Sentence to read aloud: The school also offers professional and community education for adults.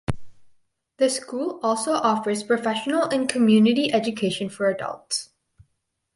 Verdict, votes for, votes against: accepted, 4, 0